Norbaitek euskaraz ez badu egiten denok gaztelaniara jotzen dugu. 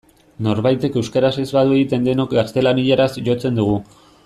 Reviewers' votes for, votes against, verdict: 0, 2, rejected